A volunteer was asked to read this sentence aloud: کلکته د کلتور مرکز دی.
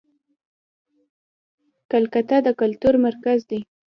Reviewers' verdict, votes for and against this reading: accepted, 2, 0